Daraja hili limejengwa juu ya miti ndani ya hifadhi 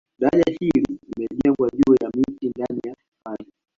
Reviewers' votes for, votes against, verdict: 1, 2, rejected